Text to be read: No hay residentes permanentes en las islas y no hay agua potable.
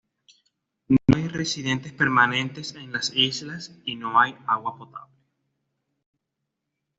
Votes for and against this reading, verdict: 3, 0, accepted